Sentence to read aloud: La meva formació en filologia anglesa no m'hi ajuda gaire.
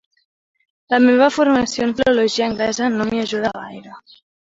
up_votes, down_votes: 2, 0